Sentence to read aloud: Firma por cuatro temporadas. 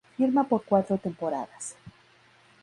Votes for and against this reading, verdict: 2, 0, accepted